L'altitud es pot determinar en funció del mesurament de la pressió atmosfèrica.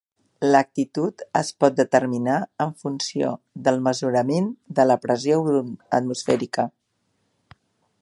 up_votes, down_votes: 2, 1